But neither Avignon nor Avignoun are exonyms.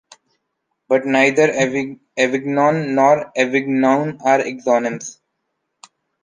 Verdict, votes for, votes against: rejected, 0, 2